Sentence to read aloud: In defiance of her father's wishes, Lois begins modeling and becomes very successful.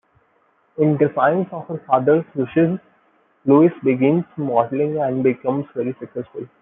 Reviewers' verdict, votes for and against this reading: rejected, 0, 2